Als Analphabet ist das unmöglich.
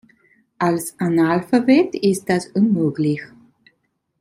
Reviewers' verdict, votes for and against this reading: rejected, 1, 2